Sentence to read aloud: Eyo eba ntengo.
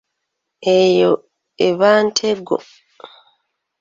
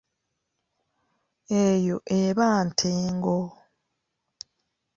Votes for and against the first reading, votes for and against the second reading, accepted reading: 0, 2, 2, 0, second